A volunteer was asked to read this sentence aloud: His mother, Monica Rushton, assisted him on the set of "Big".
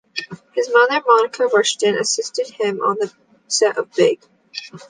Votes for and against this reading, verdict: 2, 0, accepted